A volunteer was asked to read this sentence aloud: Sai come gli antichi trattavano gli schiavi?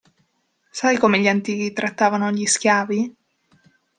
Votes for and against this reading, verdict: 2, 0, accepted